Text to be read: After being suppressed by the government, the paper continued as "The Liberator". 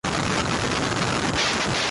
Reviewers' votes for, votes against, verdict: 0, 2, rejected